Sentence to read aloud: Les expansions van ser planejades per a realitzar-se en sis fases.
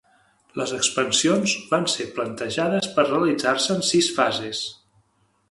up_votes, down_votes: 2, 3